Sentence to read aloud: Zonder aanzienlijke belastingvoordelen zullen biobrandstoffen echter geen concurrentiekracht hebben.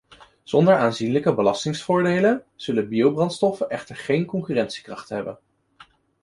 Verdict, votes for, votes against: accepted, 2, 1